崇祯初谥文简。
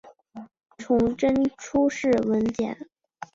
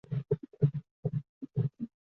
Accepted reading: first